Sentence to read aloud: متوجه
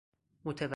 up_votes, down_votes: 0, 4